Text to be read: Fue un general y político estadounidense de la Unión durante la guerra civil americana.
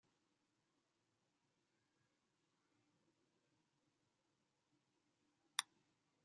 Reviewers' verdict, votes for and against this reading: rejected, 0, 2